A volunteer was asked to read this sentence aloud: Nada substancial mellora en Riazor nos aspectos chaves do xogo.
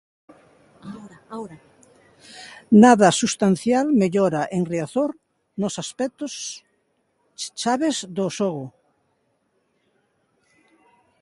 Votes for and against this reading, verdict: 1, 2, rejected